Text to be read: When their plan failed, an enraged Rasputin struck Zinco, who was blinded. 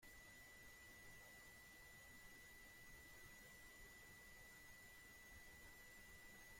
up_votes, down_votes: 0, 3